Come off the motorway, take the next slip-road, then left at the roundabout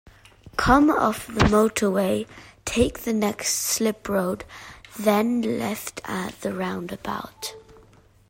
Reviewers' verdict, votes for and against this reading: accepted, 2, 0